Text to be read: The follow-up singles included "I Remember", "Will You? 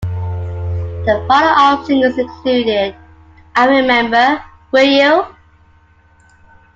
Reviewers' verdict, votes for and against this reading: accepted, 2, 0